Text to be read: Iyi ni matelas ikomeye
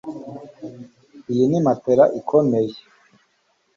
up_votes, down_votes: 2, 0